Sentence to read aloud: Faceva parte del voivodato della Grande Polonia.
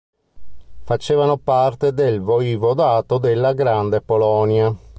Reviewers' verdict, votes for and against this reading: rejected, 1, 2